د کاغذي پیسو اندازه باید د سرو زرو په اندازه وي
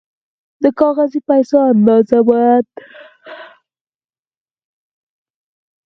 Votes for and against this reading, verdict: 2, 4, rejected